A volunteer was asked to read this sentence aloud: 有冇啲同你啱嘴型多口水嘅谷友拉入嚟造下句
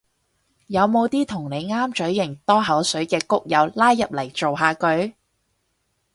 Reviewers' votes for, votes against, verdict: 6, 0, accepted